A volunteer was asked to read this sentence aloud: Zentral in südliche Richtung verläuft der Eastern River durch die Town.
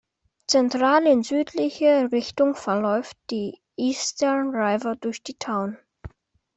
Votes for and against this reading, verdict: 0, 2, rejected